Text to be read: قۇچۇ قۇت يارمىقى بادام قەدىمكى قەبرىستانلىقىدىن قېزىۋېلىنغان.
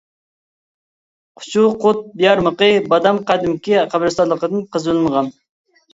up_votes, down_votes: 0, 2